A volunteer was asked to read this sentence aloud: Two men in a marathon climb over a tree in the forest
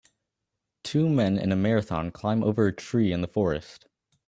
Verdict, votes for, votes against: accepted, 2, 0